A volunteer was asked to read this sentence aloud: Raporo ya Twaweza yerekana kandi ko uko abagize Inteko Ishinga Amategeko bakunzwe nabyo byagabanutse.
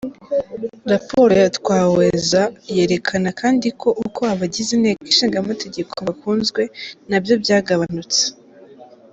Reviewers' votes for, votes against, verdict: 2, 0, accepted